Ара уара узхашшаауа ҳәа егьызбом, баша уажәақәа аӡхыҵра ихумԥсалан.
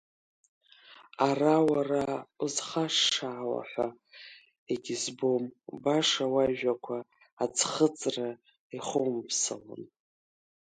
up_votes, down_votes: 1, 2